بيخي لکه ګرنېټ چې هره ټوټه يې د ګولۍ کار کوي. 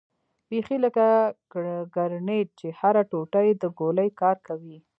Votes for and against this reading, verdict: 0, 2, rejected